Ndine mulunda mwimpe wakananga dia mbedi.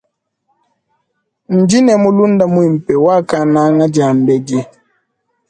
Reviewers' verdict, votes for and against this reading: accepted, 2, 0